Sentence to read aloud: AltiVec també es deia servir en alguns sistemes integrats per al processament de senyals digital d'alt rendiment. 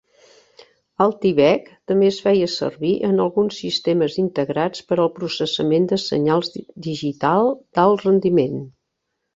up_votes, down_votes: 0, 2